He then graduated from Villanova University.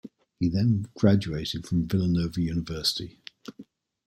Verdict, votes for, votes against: accepted, 2, 0